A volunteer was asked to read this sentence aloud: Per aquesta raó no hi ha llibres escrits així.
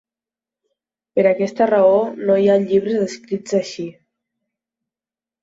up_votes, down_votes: 2, 0